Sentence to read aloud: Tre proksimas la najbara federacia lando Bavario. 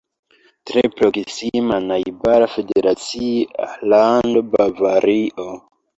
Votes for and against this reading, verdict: 1, 2, rejected